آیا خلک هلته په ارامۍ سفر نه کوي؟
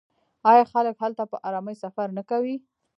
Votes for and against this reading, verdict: 0, 2, rejected